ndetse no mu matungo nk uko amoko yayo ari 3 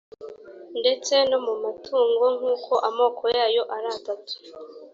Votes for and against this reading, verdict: 0, 2, rejected